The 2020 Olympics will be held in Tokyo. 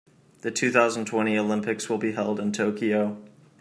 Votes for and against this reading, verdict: 0, 2, rejected